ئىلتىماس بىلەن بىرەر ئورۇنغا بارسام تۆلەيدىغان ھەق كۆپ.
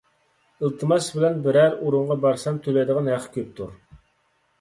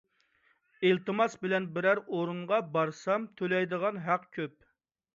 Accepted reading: second